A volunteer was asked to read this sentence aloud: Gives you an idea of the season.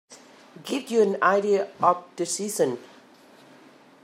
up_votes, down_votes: 2, 5